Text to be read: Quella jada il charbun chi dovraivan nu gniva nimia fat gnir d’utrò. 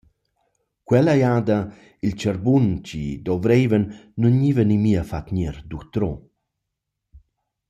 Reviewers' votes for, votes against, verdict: 2, 0, accepted